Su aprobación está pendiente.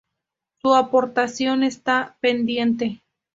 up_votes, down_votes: 0, 2